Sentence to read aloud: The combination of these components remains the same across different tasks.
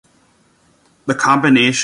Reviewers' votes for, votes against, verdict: 0, 2, rejected